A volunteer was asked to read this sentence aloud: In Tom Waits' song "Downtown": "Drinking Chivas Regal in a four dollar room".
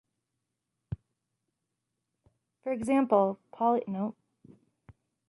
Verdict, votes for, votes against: rejected, 1, 2